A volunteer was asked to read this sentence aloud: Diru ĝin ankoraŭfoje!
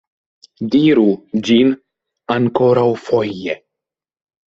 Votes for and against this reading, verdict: 2, 0, accepted